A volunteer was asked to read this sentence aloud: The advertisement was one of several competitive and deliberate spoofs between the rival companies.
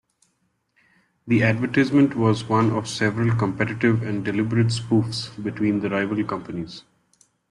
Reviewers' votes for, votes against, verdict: 1, 2, rejected